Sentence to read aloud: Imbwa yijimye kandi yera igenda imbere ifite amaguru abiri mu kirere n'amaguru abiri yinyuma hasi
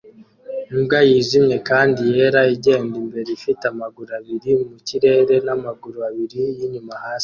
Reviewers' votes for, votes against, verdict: 2, 0, accepted